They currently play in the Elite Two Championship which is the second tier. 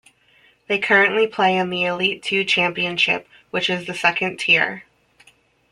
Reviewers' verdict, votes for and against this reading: rejected, 1, 2